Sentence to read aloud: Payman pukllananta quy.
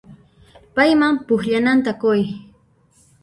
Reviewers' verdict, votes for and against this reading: rejected, 0, 2